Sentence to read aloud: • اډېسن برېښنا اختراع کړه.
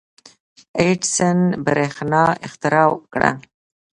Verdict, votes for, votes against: accepted, 2, 0